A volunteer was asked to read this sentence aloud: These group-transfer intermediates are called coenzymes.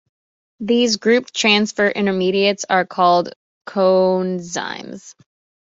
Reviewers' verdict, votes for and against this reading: rejected, 1, 2